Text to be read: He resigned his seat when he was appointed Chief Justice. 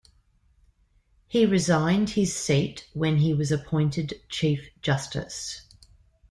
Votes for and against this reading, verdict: 2, 0, accepted